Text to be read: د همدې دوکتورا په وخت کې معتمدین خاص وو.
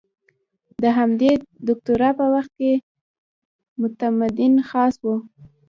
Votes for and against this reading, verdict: 0, 2, rejected